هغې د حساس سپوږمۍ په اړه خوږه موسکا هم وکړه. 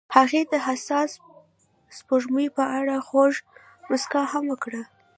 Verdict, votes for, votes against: rejected, 0, 2